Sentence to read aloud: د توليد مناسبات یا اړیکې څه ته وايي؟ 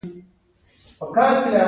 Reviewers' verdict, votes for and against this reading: accepted, 2, 1